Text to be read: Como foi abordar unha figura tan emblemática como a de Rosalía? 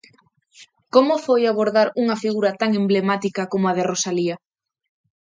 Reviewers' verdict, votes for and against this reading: accepted, 2, 0